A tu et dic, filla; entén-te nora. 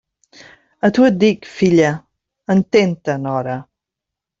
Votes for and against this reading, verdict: 2, 0, accepted